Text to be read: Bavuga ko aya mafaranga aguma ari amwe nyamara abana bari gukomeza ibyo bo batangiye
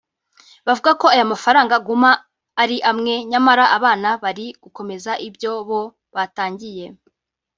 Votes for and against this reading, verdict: 2, 0, accepted